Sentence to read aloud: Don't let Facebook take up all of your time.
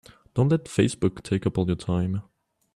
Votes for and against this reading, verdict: 2, 1, accepted